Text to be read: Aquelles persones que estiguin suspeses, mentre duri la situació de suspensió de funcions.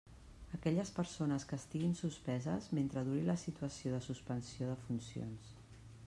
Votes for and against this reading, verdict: 3, 0, accepted